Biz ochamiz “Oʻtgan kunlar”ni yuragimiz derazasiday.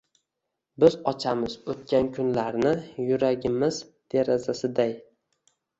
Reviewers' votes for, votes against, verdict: 2, 0, accepted